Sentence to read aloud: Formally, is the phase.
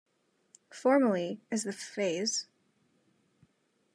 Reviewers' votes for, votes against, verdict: 2, 0, accepted